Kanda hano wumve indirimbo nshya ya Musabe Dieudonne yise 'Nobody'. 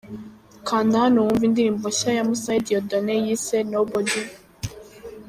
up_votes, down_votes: 2, 0